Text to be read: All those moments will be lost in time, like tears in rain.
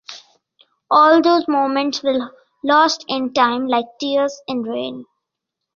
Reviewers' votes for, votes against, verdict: 0, 2, rejected